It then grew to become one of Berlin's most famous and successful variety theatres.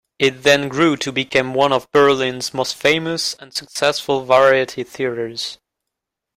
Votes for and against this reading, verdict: 0, 2, rejected